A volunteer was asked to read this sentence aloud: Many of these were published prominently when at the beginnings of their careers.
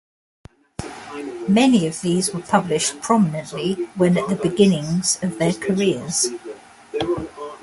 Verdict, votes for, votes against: rejected, 1, 2